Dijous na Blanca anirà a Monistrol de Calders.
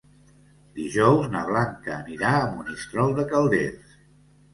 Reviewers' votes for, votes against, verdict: 2, 0, accepted